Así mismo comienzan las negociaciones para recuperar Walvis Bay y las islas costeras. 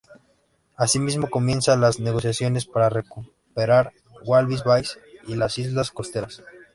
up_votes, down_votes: 0, 2